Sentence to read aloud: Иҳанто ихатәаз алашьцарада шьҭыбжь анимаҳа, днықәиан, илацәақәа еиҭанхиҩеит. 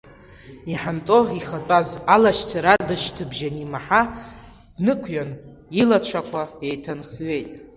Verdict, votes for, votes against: rejected, 1, 2